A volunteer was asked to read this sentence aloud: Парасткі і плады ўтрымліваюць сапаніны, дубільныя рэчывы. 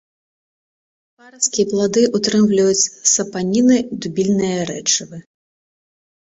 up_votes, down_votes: 1, 2